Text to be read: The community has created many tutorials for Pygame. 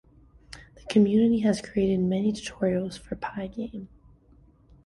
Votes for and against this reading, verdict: 2, 0, accepted